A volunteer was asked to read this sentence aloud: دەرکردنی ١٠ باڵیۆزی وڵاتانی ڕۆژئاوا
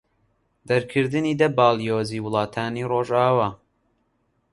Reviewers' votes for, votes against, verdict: 0, 2, rejected